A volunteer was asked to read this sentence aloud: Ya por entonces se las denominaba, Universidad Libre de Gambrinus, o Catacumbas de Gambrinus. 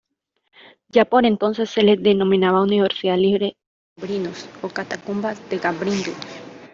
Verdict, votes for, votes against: rejected, 0, 2